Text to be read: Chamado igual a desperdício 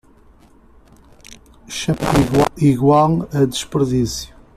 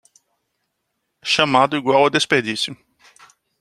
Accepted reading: second